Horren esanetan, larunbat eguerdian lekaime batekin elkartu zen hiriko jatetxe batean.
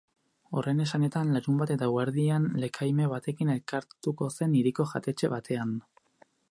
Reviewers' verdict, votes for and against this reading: rejected, 2, 4